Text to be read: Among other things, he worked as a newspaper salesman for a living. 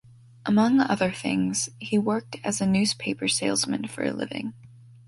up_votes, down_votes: 2, 0